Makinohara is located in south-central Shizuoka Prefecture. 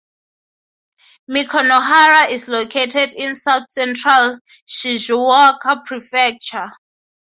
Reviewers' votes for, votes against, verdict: 6, 3, accepted